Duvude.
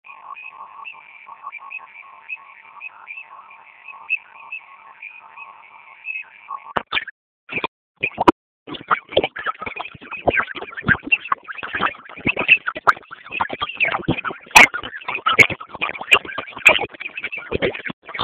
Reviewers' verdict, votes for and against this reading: rejected, 0, 2